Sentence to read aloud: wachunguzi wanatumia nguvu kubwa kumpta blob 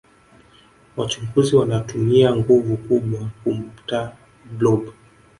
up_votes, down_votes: 0, 2